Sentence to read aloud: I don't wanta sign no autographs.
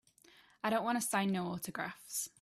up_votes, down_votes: 2, 0